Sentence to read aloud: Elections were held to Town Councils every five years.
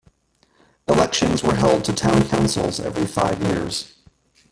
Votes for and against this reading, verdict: 1, 2, rejected